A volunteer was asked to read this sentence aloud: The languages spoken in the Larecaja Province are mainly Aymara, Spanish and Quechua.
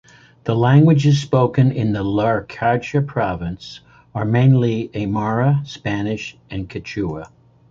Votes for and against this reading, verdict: 2, 0, accepted